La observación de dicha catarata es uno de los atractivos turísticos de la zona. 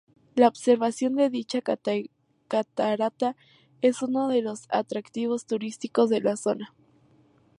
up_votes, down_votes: 2, 2